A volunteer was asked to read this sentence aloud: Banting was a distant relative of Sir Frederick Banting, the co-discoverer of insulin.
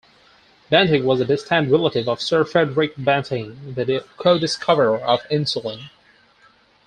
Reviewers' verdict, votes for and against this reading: rejected, 2, 4